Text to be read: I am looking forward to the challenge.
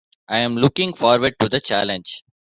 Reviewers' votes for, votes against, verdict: 2, 0, accepted